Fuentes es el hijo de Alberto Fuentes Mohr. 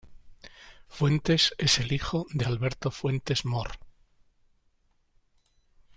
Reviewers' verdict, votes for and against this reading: accepted, 2, 0